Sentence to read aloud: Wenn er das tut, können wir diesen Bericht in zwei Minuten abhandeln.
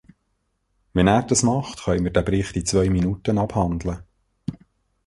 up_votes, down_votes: 0, 2